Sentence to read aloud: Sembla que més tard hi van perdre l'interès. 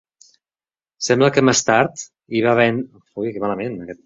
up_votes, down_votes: 0, 2